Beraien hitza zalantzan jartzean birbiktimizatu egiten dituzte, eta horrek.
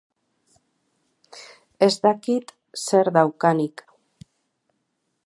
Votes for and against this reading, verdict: 0, 4, rejected